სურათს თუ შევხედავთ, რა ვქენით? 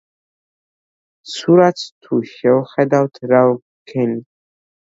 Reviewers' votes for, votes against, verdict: 2, 0, accepted